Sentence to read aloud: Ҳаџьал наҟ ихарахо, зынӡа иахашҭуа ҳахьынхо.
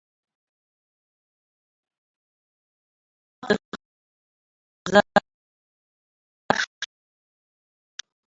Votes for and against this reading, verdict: 0, 2, rejected